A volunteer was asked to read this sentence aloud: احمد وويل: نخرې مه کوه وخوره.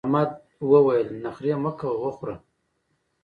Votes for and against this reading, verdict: 0, 2, rejected